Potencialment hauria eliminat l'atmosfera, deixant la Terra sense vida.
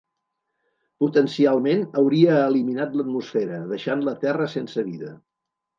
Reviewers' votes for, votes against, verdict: 2, 0, accepted